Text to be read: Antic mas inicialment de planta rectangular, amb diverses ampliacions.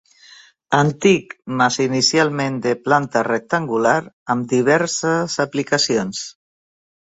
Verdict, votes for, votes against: rejected, 0, 2